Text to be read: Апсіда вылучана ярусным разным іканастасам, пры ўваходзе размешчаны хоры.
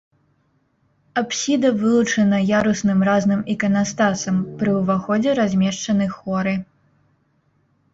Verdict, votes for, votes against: accepted, 2, 1